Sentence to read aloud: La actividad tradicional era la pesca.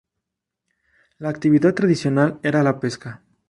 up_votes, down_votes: 2, 0